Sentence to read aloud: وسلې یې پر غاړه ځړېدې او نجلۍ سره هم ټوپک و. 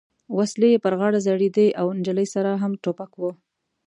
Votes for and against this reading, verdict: 2, 0, accepted